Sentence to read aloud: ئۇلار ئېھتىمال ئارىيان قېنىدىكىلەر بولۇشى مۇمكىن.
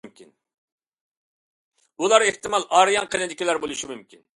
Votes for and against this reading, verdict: 2, 0, accepted